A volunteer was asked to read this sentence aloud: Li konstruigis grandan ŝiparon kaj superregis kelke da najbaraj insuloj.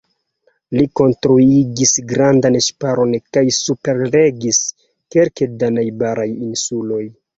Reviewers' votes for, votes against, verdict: 2, 1, accepted